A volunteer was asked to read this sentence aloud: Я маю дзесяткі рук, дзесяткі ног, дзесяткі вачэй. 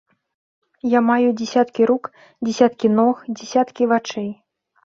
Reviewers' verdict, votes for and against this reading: accepted, 2, 0